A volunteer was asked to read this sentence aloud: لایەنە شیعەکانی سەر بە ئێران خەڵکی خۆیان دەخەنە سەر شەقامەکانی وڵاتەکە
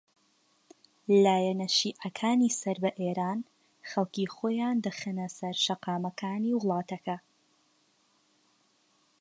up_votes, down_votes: 2, 0